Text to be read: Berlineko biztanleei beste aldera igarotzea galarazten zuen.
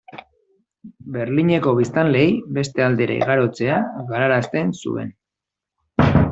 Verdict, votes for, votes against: accepted, 2, 0